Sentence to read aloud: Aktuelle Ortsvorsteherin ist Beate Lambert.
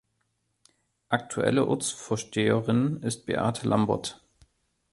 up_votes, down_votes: 2, 0